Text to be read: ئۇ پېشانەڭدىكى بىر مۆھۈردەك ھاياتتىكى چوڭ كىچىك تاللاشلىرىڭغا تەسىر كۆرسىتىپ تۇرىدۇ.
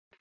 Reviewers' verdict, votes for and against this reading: rejected, 0, 2